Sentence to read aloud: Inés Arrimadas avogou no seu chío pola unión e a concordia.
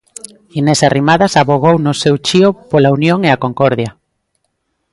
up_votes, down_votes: 2, 0